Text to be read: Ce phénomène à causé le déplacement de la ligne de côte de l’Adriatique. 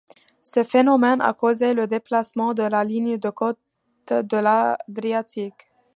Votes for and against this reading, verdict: 1, 2, rejected